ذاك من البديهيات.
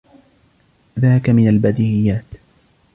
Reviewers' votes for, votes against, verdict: 2, 1, accepted